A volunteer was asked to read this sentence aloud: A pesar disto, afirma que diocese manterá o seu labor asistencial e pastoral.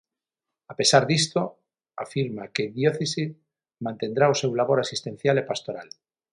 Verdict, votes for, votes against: rejected, 0, 6